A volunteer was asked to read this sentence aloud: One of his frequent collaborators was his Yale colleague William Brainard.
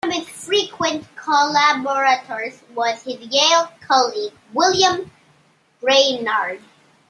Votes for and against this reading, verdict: 0, 2, rejected